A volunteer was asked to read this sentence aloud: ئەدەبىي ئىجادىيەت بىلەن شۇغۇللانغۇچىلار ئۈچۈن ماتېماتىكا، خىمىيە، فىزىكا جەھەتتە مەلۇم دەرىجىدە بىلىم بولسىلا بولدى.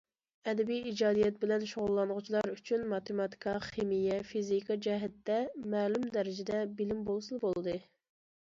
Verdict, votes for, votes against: accepted, 2, 0